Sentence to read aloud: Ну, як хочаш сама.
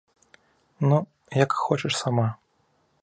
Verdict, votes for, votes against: accepted, 2, 0